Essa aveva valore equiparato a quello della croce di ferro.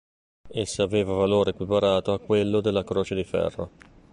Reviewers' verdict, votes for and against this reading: accepted, 2, 0